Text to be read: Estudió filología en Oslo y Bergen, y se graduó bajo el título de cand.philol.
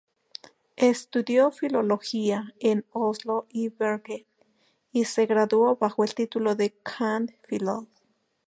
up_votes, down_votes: 2, 0